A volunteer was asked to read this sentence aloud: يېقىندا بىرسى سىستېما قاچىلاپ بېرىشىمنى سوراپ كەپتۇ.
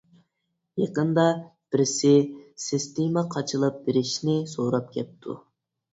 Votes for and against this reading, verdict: 0, 2, rejected